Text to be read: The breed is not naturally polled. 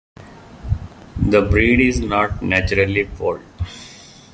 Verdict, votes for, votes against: accepted, 2, 0